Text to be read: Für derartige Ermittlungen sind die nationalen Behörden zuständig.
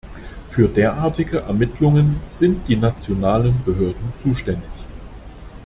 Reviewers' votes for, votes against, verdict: 2, 0, accepted